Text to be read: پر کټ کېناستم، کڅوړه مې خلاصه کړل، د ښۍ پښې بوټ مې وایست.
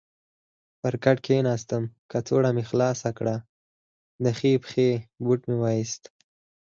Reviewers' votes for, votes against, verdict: 2, 4, rejected